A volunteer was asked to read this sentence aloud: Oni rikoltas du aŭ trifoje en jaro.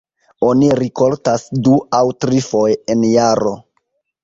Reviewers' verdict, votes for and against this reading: rejected, 2, 2